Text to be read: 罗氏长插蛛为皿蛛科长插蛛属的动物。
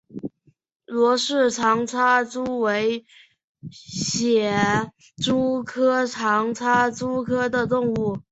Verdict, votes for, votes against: rejected, 2, 3